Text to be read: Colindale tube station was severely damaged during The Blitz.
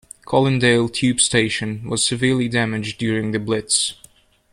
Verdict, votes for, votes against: accepted, 2, 0